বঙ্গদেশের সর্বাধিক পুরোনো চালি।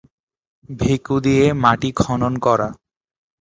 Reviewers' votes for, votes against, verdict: 0, 2, rejected